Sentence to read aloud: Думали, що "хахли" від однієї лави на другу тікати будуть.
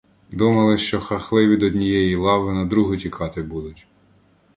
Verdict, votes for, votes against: rejected, 1, 2